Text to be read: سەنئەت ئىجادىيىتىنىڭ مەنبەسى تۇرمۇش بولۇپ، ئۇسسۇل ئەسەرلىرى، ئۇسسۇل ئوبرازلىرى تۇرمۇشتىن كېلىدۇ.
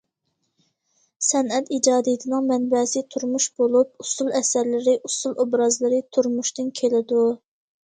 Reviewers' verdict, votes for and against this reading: accepted, 2, 0